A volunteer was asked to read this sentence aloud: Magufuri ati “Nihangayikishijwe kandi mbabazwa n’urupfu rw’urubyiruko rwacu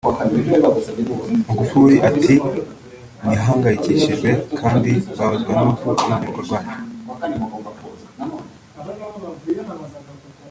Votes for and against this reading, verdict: 0, 2, rejected